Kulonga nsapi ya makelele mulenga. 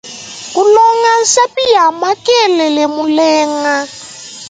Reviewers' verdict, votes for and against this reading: rejected, 1, 2